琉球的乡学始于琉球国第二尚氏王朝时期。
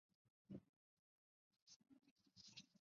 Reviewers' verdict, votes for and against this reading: rejected, 0, 2